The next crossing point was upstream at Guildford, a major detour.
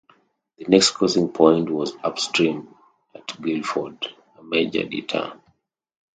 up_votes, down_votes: 2, 0